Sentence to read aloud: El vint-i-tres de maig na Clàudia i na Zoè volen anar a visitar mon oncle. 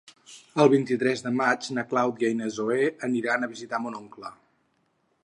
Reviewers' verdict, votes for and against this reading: accepted, 4, 2